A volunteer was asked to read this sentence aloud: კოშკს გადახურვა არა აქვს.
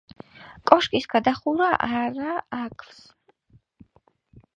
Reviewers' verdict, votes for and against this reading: rejected, 0, 2